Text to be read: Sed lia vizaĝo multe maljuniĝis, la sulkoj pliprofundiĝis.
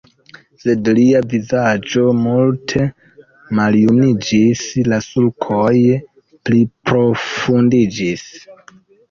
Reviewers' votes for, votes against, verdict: 1, 2, rejected